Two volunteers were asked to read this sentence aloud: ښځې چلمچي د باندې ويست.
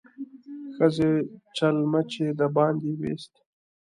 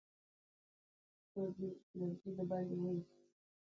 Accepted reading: first